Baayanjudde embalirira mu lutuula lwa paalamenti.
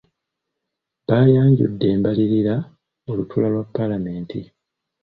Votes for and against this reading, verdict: 2, 0, accepted